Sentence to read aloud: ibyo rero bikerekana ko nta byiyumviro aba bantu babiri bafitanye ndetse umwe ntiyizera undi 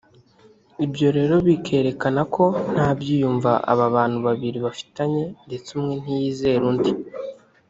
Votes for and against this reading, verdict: 1, 2, rejected